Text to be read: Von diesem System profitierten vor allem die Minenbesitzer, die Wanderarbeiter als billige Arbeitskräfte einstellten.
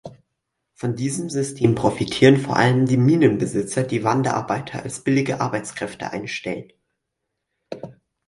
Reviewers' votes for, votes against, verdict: 0, 4, rejected